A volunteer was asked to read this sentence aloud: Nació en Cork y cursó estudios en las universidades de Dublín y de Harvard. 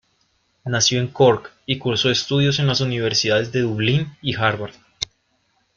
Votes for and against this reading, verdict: 1, 2, rejected